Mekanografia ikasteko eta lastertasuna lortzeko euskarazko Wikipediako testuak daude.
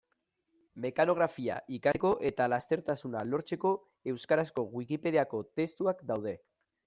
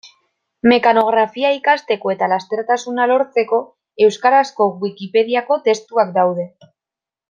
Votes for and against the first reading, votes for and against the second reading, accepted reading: 0, 2, 2, 0, second